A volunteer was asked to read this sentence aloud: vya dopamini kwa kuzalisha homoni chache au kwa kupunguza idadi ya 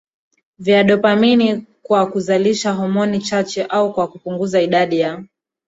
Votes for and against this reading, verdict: 0, 2, rejected